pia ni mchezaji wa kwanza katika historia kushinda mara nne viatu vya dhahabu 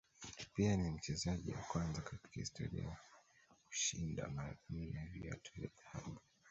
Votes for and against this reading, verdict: 0, 2, rejected